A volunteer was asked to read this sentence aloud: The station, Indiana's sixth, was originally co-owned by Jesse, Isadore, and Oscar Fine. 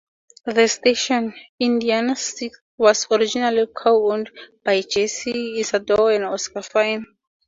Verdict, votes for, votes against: accepted, 2, 0